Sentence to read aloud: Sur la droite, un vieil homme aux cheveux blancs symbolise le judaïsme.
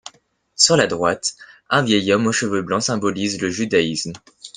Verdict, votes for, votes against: accepted, 2, 0